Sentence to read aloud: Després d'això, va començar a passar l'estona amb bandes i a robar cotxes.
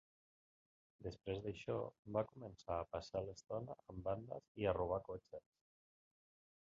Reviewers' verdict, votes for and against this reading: rejected, 0, 2